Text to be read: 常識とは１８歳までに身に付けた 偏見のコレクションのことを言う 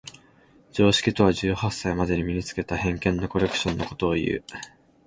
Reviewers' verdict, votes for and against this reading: rejected, 0, 2